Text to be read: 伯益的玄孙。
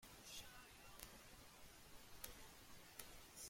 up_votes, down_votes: 0, 2